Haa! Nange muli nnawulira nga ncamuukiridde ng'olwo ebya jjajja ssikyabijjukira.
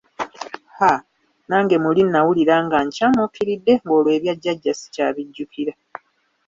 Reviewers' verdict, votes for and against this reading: accepted, 2, 0